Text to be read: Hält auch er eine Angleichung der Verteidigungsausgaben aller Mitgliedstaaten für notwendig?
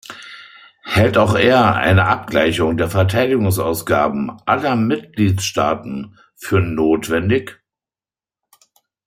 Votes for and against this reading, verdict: 0, 2, rejected